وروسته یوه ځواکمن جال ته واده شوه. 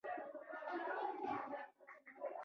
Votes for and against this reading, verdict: 0, 2, rejected